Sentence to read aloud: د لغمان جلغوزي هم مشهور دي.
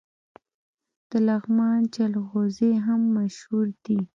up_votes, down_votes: 2, 0